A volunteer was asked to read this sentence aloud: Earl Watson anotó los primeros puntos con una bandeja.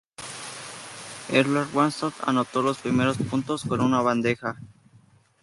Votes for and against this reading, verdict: 2, 2, rejected